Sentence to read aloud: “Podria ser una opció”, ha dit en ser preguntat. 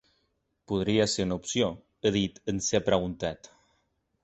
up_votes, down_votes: 2, 0